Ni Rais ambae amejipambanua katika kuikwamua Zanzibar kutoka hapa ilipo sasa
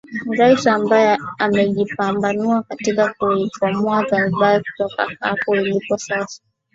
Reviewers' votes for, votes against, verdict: 1, 2, rejected